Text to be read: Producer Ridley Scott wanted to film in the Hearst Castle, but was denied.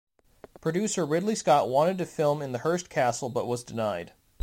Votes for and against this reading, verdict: 1, 2, rejected